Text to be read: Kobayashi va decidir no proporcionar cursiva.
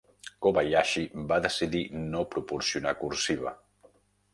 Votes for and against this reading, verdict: 3, 0, accepted